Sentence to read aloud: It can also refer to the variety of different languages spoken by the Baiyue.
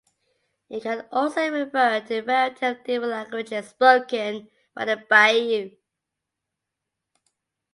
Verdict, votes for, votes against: rejected, 1, 2